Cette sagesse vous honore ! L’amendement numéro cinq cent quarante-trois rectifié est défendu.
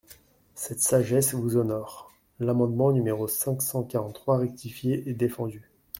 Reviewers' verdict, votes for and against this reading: accepted, 2, 0